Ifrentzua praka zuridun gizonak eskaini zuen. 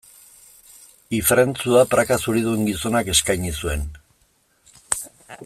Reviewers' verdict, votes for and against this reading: accepted, 2, 0